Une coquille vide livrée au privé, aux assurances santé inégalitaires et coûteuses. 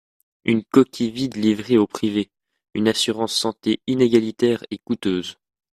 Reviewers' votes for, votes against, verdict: 1, 2, rejected